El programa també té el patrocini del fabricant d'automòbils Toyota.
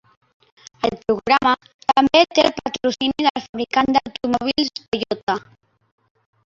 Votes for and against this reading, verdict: 0, 2, rejected